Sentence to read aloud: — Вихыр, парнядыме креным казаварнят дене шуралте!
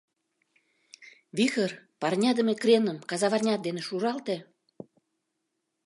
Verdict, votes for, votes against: accepted, 2, 0